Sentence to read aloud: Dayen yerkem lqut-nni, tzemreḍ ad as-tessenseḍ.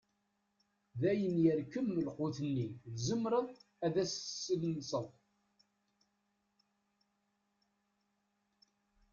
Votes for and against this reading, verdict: 1, 2, rejected